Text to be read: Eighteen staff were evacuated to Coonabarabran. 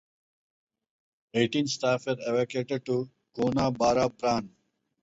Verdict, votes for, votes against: accepted, 4, 2